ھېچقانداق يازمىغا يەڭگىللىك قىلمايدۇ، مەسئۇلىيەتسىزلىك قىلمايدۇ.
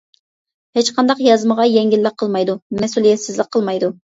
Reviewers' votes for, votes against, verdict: 2, 0, accepted